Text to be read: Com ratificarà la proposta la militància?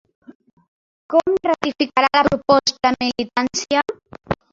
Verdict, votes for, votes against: rejected, 0, 2